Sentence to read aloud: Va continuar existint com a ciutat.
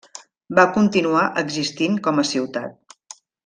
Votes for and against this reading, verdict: 3, 0, accepted